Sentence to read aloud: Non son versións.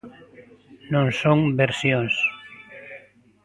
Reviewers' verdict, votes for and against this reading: rejected, 1, 2